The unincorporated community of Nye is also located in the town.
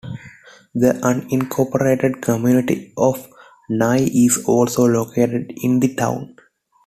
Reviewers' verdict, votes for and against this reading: accepted, 2, 1